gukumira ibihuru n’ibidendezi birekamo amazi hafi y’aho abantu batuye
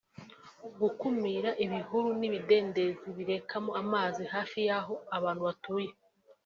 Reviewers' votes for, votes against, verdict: 2, 1, accepted